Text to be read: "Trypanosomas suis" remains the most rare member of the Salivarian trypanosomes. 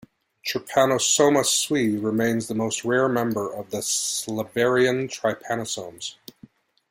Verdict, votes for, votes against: accepted, 2, 1